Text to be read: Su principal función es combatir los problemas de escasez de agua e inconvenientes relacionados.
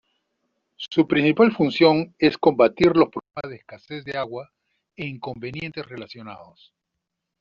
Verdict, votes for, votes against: rejected, 0, 2